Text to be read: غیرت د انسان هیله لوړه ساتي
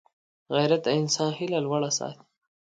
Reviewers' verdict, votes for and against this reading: rejected, 1, 2